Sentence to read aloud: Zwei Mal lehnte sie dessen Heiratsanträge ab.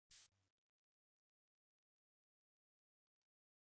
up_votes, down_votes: 0, 2